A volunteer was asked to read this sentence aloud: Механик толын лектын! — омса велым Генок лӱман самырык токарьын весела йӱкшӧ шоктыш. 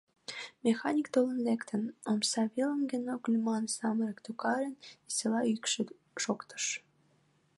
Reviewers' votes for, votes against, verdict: 0, 2, rejected